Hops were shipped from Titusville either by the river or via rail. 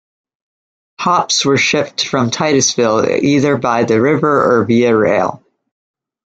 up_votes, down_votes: 2, 0